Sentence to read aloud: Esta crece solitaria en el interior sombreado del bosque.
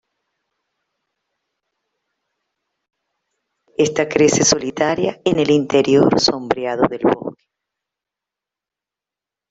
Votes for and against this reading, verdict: 0, 2, rejected